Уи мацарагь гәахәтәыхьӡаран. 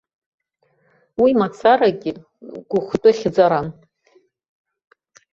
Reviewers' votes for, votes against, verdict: 0, 2, rejected